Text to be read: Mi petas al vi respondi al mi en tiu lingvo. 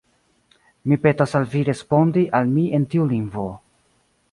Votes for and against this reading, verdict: 2, 0, accepted